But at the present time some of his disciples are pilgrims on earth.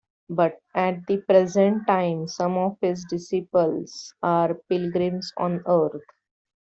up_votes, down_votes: 0, 2